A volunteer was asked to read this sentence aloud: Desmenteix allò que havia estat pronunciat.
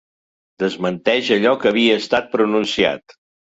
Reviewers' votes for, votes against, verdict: 3, 0, accepted